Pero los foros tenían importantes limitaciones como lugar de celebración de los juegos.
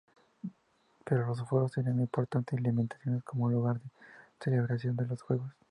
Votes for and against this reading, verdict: 2, 0, accepted